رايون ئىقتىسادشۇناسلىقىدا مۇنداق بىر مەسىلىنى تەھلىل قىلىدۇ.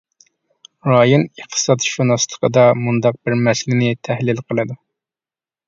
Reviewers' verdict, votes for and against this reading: accepted, 2, 0